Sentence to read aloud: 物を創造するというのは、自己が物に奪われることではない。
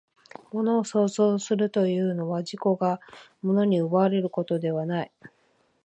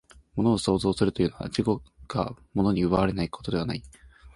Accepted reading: first